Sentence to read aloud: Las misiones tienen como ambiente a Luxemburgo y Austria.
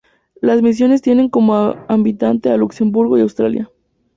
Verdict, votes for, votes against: rejected, 0, 2